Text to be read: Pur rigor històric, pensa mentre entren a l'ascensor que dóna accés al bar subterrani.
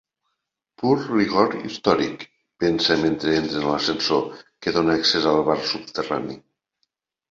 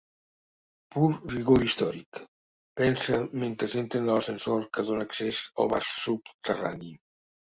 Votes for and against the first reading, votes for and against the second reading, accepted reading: 2, 0, 1, 2, first